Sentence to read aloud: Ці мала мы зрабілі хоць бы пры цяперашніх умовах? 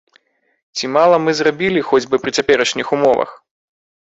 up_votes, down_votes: 2, 0